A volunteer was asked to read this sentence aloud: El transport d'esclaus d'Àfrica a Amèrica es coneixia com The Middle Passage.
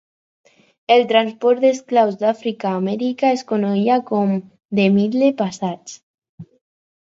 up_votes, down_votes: 2, 6